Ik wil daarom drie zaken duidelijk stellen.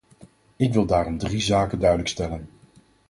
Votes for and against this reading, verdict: 4, 0, accepted